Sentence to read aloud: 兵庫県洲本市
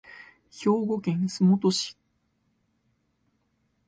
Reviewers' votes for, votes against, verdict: 2, 0, accepted